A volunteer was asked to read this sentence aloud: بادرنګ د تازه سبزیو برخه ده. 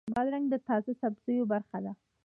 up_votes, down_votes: 1, 2